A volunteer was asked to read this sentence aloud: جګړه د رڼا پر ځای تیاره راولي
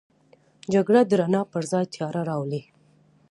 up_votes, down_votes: 2, 0